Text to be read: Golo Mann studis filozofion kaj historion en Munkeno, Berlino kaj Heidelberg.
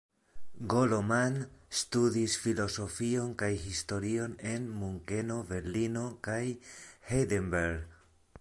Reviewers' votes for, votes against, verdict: 0, 2, rejected